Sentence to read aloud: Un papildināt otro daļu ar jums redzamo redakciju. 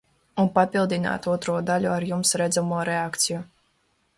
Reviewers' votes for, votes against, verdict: 0, 2, rejected